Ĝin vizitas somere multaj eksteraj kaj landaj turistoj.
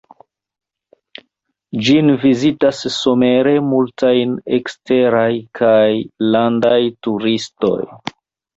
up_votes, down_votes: 1, 2